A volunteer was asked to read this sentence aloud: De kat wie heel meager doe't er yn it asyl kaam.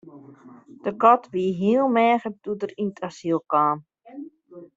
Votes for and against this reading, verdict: 1, 2, rejected